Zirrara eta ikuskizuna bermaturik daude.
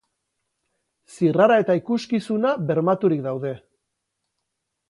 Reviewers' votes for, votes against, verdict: 6, 0, accepted